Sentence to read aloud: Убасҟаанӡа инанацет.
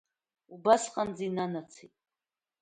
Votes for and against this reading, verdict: 2, 0, accepted